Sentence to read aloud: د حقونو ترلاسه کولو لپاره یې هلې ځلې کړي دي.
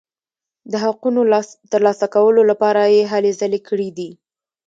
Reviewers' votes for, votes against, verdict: 2, 0, accepted